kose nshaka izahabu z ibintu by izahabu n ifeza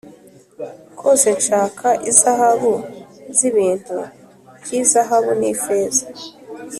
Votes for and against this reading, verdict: 2, 0, accepted